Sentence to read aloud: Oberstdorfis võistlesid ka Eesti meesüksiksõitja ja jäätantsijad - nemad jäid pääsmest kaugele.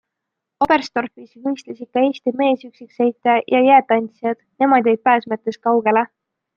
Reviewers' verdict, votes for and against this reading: rejected, 0, 2